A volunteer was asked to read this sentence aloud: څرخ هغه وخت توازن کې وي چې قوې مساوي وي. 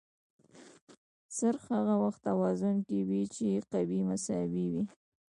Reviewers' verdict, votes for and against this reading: accepted, 2, 1